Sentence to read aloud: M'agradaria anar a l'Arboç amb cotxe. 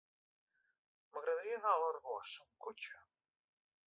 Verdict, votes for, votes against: rejected, 1, 2